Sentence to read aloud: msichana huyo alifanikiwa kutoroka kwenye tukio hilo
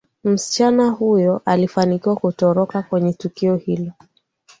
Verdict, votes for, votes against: accepted, 2, 0